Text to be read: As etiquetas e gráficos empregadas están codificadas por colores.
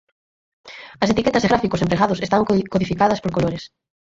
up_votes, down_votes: 0, 4